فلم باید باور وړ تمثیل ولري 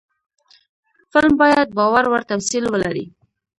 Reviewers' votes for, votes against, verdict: 0, 2, rejected